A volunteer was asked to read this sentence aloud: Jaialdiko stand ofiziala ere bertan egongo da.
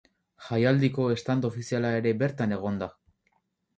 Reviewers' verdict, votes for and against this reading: rejected, 2, 2